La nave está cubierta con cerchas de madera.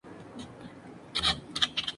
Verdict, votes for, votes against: rejected, 0, 2